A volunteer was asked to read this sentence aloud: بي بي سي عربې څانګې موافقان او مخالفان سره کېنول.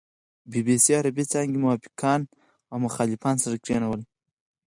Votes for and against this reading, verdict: 2, 4, rejected